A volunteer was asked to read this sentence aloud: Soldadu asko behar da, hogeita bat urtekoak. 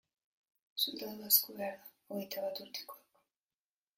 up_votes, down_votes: 1, 2